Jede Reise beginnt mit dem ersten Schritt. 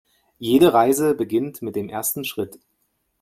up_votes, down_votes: 2, 0